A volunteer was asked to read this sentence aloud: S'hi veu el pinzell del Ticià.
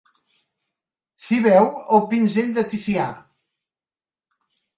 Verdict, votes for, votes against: rejected, 1, 2